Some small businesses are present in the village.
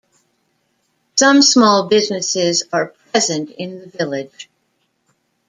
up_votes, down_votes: 1, 2